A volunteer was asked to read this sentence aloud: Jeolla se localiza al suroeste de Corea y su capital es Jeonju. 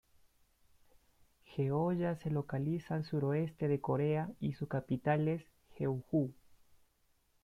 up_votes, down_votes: 2, 0